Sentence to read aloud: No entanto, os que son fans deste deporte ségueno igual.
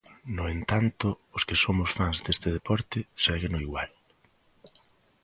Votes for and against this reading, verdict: 0, 4, rejected